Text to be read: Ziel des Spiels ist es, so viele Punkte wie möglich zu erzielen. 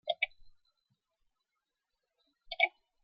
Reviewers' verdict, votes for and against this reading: rejected, 0, 2